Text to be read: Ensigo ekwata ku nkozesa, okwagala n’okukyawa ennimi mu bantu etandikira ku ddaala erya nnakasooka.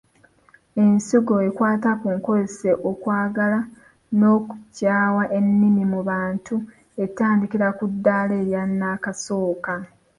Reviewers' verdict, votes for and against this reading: accepted, 2, 1